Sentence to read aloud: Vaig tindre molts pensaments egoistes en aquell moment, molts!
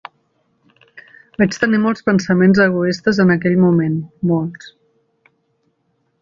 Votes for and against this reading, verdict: 1, 2, rejected